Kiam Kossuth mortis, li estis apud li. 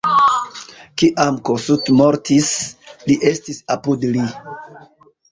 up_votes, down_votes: 2, 0